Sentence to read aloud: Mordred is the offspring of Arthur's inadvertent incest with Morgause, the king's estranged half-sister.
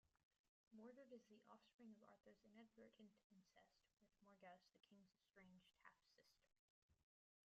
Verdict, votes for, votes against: rejected, 0, 2